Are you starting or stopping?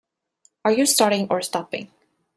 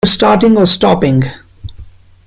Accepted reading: first